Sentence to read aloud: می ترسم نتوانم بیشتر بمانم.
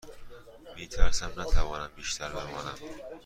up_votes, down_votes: 2, 0